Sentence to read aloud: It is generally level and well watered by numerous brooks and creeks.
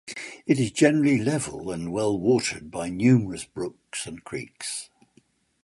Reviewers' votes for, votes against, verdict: 2, 1, accepted